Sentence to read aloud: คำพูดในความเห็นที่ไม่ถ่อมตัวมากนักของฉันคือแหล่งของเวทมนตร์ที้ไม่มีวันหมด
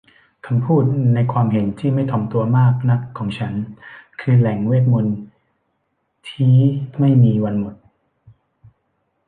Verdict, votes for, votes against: rejected, 0, 2